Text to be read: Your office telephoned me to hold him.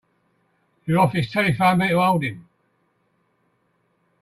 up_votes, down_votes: 2, 1